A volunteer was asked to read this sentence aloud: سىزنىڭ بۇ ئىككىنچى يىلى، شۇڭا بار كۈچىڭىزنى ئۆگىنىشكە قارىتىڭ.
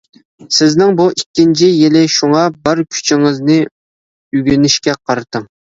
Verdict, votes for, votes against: accepted, 2, 0